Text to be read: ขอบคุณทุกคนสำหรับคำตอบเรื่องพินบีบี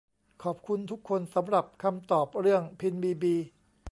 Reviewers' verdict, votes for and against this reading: accepted, 2, 0